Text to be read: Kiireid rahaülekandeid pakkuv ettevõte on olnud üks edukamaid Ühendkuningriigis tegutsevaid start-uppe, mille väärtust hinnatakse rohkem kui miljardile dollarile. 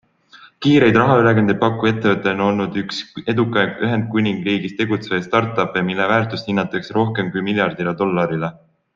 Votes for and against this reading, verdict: 4, 1, accepted